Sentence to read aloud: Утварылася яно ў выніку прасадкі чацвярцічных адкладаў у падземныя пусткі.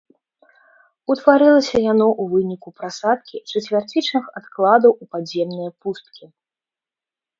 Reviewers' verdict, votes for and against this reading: rejected, 1, 2